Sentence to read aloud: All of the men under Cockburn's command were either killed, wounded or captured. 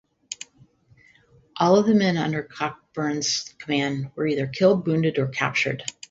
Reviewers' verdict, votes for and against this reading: accepted, 2, 0